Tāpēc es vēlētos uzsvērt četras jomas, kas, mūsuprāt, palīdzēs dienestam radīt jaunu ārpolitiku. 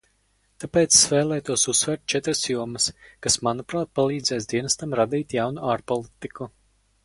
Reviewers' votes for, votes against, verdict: 0, 4, rejected